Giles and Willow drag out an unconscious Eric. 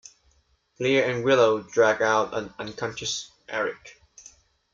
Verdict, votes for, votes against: accepted, 2, 0